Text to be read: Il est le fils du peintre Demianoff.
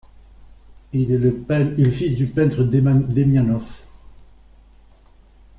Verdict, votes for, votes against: rejected, 0, 2